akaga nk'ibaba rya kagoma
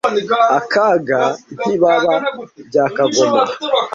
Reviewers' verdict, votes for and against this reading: rejected, 1, 2